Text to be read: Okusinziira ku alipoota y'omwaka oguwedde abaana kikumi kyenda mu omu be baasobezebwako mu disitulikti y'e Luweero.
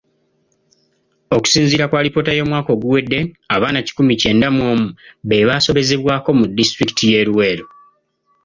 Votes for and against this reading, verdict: 2, 0, accepted